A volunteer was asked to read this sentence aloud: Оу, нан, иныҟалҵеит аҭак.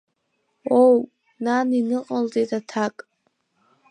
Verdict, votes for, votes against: accepted, 2, 0